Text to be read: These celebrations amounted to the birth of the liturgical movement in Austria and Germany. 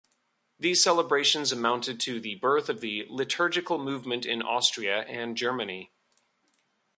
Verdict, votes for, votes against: accepted, 2, 0